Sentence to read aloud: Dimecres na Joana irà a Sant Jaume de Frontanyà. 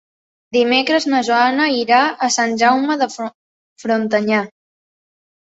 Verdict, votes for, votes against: rejected, 1, 2